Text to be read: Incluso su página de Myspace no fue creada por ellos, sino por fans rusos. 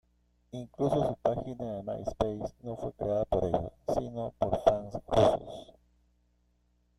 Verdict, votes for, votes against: rejected, 1, 2